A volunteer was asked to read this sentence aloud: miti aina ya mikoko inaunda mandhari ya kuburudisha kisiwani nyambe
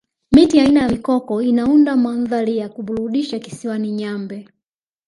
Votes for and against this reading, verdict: 2, 1, accepted